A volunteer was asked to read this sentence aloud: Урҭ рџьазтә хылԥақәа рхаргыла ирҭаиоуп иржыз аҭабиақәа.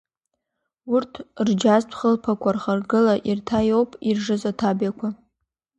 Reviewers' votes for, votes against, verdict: 2, 0, accepted